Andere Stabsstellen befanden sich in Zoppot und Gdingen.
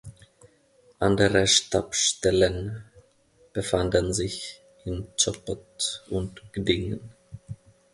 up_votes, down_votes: 1, 2